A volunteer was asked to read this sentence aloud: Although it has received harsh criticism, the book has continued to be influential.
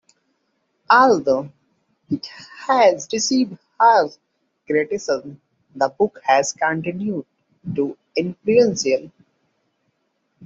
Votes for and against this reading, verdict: 0, 2, rejected